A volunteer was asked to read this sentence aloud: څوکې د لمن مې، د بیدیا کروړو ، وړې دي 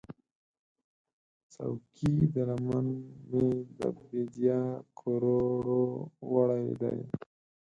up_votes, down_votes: 0, 4